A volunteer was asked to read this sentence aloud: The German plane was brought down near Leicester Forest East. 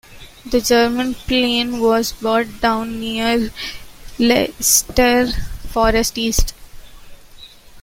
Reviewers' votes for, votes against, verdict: 2, 0, accepted